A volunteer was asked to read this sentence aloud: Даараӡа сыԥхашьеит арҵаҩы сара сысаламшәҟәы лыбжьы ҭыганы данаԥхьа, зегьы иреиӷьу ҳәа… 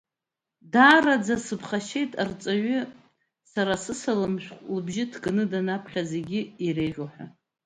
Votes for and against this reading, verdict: 2, 1, accepted